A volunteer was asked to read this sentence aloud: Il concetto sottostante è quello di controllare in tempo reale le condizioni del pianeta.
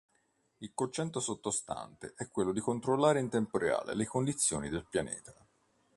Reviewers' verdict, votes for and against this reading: accepted, 3, 1